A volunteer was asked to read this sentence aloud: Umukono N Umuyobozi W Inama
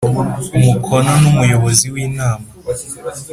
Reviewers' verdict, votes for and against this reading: accepted, 3, 0